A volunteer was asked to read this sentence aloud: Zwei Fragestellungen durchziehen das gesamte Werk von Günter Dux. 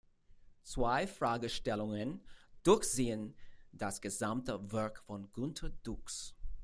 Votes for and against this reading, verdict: 2, 0, accepted